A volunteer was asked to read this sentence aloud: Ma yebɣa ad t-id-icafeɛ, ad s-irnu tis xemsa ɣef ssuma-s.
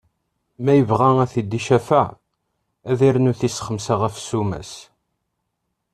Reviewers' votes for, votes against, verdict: 1, 2, rejected